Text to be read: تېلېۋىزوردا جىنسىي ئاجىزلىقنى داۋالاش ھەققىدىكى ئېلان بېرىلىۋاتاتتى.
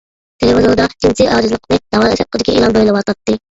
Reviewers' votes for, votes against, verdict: 0, 2, rejected